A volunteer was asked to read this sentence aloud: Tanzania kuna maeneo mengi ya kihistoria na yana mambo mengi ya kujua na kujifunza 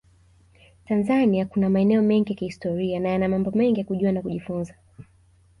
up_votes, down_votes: 2, 0